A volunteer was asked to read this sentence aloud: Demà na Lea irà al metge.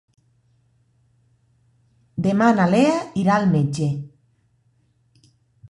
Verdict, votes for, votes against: accepted, 2, 0